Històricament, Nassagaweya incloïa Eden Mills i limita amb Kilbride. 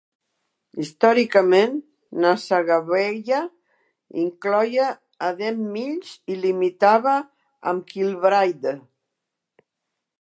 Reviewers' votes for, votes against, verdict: 0, 2, rejected